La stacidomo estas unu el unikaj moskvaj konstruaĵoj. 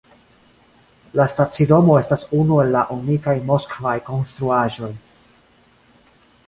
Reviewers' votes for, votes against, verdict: 2, 0, accepted